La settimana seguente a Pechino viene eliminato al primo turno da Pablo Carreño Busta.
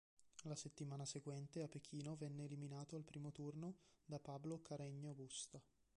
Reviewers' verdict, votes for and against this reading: rejected, 1, 2